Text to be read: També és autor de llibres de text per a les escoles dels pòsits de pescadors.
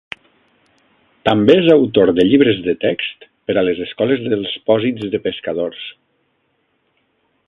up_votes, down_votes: 2, 0